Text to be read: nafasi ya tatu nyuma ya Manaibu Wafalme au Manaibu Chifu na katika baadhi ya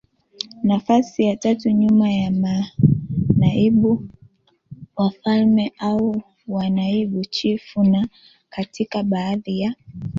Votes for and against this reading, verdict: 2, 0, accepted